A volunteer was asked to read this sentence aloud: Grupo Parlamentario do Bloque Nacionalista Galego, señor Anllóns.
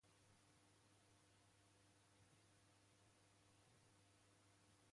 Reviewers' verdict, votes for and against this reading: rejected, 0, 2